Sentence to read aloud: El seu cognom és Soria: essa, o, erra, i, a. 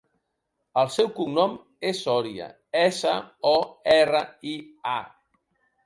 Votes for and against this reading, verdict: 3, 0, accepted